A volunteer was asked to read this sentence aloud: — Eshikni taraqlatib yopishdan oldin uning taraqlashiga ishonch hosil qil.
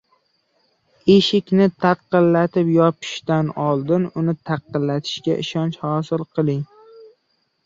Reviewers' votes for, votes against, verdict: 0, 2, rejected